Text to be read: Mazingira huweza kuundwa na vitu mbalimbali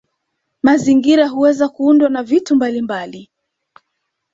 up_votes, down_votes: 2, 0